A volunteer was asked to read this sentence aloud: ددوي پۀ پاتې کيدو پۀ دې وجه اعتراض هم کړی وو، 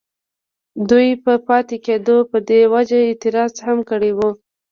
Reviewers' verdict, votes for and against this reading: accepted, 2, 0